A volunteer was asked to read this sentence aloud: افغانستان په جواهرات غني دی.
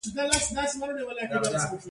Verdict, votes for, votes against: rejected, 1, 2